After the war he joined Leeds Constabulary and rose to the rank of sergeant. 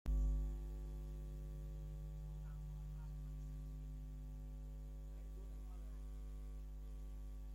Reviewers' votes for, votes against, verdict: 0, 2, rejected